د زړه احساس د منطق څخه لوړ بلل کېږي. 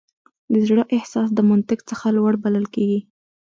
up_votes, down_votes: 2, 1